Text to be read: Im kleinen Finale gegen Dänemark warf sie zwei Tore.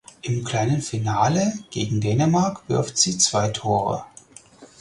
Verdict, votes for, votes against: rejected, 0, 4